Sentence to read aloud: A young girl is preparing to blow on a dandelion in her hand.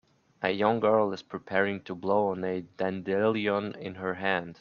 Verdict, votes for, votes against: rejected, 0, 2